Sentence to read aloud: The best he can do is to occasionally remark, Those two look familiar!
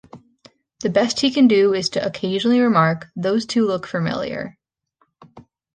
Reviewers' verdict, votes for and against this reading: accepted, 2, 0